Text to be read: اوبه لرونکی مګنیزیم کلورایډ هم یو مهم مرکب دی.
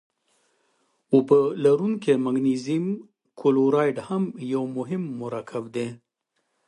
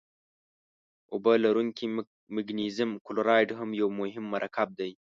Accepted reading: first